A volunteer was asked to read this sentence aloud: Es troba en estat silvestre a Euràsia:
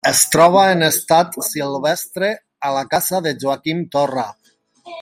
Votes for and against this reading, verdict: 0, 2, rejected